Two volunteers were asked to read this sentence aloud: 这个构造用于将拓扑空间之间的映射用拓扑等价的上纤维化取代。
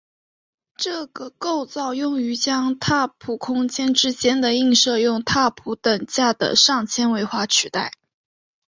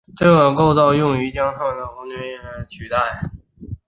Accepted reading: first